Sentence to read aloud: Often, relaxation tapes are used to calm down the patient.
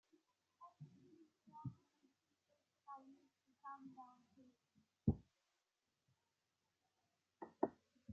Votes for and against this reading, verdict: 0, 2, rejected